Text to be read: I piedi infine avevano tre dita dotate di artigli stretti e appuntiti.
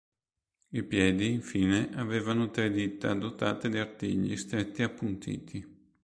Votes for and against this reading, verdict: 2, 0, accepted